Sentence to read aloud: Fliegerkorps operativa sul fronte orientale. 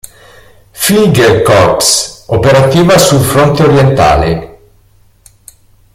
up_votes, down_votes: 1, 2